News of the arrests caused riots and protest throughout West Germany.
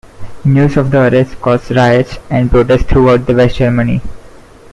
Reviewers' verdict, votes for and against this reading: rejected, 1, 2